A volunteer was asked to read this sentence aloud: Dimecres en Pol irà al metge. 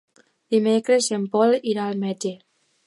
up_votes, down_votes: 2, 0